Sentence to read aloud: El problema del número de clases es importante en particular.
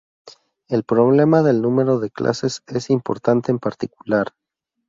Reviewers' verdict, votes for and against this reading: accepted, 2, 0